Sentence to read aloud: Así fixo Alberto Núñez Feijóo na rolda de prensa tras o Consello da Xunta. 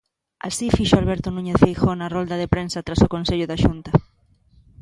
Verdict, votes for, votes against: accepted, 2, 0